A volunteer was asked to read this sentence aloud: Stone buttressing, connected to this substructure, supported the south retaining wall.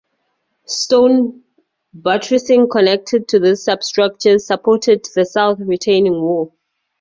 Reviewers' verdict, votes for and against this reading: accepted, 4, 0